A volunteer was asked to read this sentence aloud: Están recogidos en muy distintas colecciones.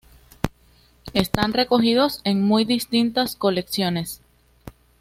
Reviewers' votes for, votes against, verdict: 2, 0, accepted